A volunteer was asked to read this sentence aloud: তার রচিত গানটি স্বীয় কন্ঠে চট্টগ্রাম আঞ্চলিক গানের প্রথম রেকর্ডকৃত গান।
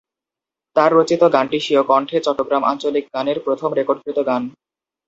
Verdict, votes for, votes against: accepted, 2, 0